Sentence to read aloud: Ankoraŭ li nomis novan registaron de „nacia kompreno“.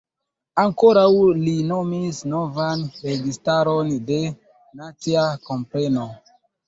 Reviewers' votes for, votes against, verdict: 0, 2, rejected